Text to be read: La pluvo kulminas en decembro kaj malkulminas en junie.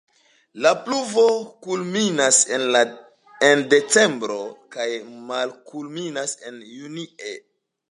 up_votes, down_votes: 2, 1